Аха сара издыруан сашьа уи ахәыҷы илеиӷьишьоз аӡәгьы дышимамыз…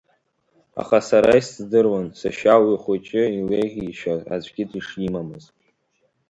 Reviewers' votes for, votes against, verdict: 1, 2, rejected